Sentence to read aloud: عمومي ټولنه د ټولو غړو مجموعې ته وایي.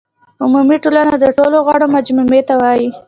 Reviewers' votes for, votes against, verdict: 2, 1, accepted